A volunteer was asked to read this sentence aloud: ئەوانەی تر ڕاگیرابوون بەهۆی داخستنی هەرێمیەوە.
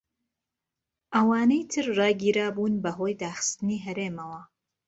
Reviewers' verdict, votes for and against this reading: rejected, 1, 2